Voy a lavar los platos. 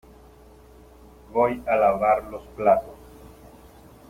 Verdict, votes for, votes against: accepted, 2, 0